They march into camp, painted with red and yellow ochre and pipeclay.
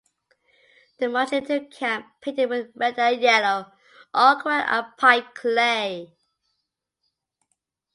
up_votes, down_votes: 0, 2